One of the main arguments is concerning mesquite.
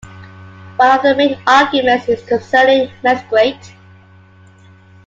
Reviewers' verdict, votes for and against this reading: accepted, 2, 1